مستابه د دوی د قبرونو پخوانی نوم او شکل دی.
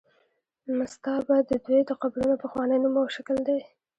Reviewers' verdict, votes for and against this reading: accepted, 2, 1